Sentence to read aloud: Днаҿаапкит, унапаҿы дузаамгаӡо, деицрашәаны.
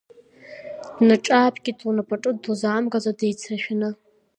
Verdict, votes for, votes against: accepted, 2, 0